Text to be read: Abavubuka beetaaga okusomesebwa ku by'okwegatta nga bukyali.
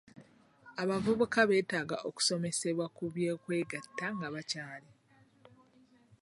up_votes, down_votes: 0, 2